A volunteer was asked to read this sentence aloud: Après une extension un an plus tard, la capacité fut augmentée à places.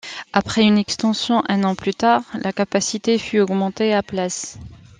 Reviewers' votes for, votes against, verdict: 2, 0, accepted